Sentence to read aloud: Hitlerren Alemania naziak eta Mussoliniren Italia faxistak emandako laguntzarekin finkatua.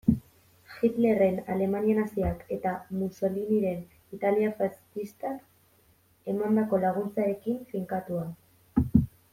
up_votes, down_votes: 1, 2